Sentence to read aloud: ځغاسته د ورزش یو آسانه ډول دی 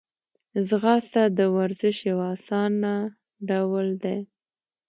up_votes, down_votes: 2, 0